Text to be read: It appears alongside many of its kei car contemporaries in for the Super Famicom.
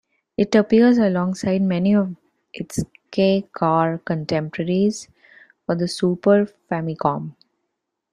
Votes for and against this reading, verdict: 1, 2, rejected